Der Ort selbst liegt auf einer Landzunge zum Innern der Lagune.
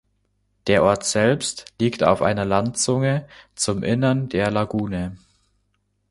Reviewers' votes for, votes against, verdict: 2, 0, accepted